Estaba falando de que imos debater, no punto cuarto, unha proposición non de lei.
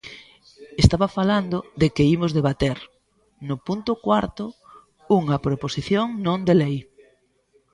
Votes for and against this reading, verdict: 1, 2, rejected